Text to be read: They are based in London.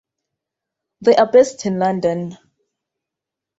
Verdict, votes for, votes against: accepted, 2, 0